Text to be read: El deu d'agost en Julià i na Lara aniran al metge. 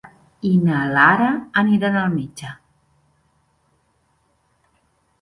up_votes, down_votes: 1, 2